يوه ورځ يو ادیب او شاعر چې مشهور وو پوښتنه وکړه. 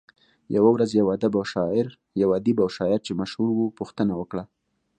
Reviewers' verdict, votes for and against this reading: accepted, 2, 0